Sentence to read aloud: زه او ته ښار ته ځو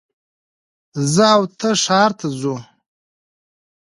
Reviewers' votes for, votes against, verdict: 2, 0, accepted